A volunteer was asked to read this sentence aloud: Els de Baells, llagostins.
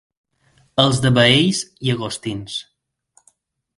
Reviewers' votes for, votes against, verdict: 6, 0, accepted